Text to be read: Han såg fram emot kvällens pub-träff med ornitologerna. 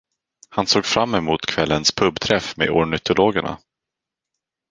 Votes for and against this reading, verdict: 4, 0, accepted